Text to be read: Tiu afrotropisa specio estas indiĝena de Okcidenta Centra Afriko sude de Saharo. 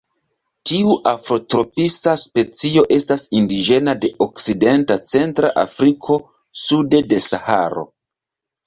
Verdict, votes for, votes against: accepted, 2, 0